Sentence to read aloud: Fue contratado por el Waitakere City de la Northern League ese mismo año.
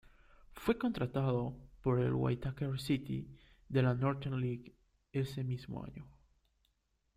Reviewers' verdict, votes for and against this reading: accepted, 2, 0